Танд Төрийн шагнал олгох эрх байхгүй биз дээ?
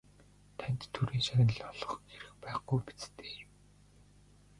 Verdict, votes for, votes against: rejected, 1, 2